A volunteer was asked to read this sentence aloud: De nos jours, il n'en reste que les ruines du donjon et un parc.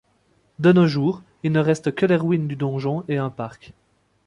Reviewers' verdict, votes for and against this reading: rejected, 1, 2